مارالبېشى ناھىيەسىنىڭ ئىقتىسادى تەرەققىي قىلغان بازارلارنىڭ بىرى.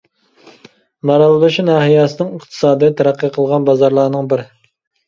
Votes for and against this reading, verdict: 2, 0, accepted